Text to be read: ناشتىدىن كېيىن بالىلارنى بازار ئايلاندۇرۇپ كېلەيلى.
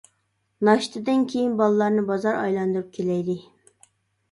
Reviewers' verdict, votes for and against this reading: accepted, 2, 0